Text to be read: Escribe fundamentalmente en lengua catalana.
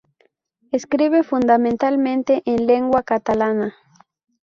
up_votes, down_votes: 0, 2